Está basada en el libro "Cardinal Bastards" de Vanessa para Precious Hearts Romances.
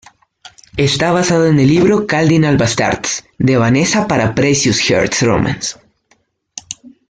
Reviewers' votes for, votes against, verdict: 1, 2, rejected